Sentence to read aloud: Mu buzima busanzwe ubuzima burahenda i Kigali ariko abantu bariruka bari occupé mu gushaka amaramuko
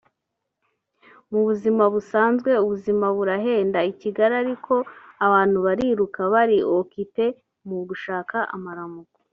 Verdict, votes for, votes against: rejected, 1, 2